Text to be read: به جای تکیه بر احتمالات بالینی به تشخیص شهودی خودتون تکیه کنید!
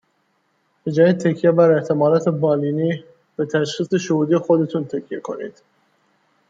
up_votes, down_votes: 2, 0